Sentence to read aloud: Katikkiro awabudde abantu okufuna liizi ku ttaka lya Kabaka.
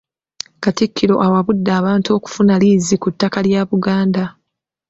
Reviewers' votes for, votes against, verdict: 0, 2, rejected